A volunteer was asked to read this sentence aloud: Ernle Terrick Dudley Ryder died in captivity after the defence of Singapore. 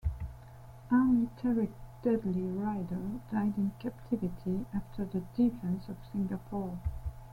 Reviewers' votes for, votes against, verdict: 2, 0, accepted